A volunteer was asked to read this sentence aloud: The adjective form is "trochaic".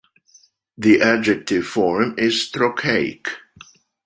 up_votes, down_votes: 2, 0